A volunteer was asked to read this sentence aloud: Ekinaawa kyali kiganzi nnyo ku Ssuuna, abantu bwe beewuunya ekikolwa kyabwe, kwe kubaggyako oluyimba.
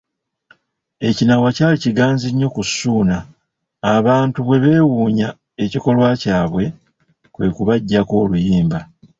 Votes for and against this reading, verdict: 0, 2, rejected